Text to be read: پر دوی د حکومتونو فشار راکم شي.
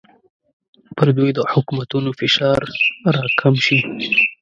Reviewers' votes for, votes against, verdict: 1, 2, rejected